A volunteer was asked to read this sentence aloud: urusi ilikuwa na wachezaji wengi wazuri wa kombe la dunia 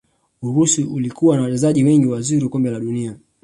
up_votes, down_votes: 2, 0